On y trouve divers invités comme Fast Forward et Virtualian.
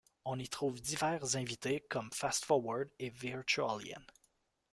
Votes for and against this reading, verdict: 1, 2, rejected